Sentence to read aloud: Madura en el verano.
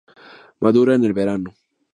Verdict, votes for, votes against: accepted, 2, 0